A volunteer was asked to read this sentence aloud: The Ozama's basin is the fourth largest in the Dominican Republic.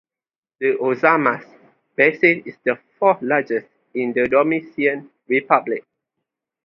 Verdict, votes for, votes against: rejected, 0, 2